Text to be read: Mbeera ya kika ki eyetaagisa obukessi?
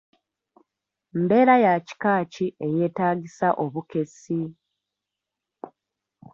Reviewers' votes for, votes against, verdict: 2, 1, accepted